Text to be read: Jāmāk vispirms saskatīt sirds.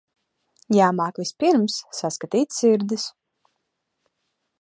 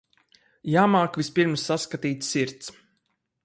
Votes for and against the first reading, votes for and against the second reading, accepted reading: 0, 2, 4, 0, second